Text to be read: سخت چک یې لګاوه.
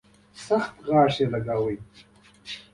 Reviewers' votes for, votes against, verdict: 2, 0, accepted